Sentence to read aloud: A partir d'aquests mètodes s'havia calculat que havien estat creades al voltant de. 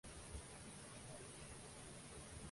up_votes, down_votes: 0, 2